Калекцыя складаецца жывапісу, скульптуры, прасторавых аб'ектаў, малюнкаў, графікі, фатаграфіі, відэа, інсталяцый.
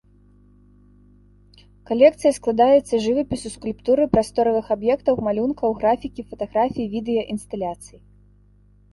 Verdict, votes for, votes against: accepted, 2, 0